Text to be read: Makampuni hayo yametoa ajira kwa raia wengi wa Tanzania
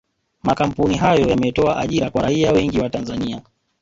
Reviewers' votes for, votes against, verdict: 0, 2, rejected